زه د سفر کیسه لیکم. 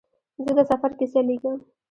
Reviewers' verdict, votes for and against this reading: accepted, 2, 0